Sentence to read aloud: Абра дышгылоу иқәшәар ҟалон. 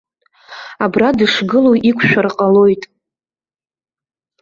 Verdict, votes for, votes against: rejected, 0, 2